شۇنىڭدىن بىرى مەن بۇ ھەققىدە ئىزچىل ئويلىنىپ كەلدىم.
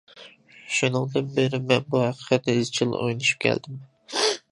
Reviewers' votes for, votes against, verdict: 0, 2, rejected